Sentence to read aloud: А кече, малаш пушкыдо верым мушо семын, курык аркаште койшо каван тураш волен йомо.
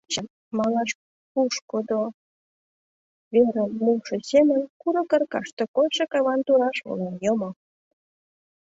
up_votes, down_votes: 0, 2